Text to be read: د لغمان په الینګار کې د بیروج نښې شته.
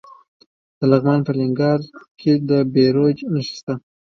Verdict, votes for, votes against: accepted, 2, 1